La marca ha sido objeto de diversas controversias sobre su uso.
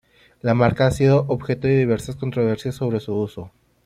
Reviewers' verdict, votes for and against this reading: accepted, 2, 0